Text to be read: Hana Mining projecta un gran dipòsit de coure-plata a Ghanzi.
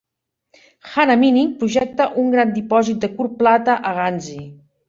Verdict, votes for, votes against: rejected, 1, 2